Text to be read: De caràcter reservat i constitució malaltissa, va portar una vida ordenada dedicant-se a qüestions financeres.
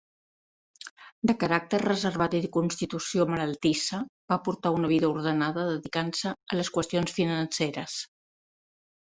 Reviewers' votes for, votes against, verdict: 1, 2, rejected